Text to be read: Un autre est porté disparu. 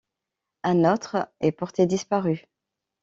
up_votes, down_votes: 2, 0